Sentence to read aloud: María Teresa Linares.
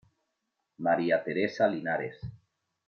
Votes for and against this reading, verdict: 2, 1, accepted